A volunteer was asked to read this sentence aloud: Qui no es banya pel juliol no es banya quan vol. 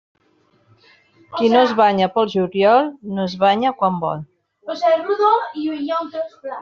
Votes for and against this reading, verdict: 1, 2, rejected